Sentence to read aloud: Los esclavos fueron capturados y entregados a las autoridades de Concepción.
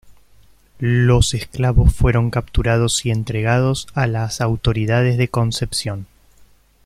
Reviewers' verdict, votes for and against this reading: accepted, 2, 1